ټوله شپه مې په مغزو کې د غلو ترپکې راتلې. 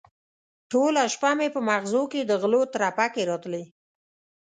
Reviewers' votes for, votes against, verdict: 2, 0, accepted